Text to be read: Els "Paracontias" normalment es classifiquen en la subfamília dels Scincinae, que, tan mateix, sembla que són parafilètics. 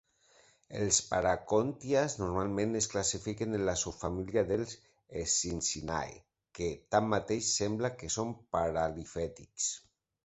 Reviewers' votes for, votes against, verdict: 0, 2, rejected